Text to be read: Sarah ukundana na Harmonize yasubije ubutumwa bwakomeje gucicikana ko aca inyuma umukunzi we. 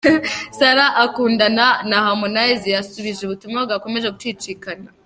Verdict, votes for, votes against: rejected, 0, 2